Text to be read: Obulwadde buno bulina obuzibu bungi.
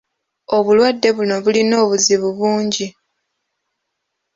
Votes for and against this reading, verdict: 2, 0, accepted